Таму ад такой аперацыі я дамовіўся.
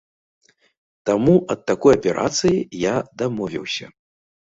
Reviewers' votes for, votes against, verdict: 2, 0, accepted